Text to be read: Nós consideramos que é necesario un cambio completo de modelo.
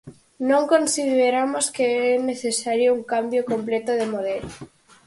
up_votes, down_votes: 0, 4